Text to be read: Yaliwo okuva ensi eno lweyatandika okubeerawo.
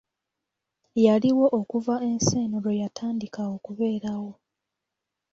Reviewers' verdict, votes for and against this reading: rejected, 0, 2